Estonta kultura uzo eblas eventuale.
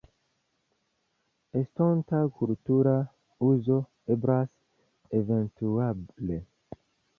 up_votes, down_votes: 2, 0